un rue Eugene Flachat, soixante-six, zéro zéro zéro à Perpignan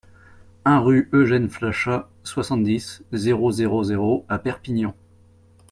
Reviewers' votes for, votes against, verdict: 1, 2, rejected